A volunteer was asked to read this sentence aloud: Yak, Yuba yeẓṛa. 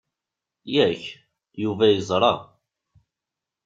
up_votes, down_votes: 2, 0